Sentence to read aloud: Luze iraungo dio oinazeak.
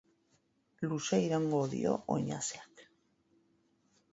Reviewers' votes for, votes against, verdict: 6, 0, accepted